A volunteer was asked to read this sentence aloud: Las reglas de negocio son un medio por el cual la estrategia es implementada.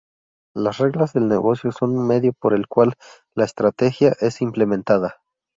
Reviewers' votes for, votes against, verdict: 0, 2, rejected